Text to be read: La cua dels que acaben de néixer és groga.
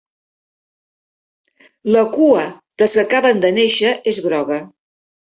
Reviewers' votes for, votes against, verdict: 0, 2, rejected